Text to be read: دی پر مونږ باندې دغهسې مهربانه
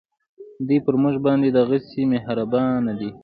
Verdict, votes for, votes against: accepted, 2, 0